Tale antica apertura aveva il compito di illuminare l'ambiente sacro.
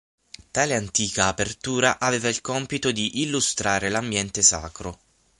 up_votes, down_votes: 0, 9